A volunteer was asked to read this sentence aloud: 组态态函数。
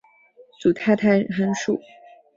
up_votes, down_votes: 4, 0